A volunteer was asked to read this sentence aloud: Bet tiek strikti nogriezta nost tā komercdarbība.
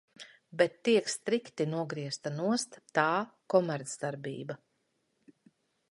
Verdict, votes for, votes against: accepted, 2, 0